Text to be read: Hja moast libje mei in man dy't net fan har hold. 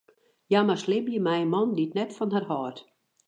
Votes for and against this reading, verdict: 0, 2, rejected